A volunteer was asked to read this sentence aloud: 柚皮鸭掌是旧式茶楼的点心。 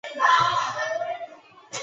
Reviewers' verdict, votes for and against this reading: rejected, 1, 8